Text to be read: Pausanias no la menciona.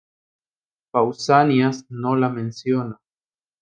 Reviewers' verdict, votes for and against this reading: accepted, 3, 0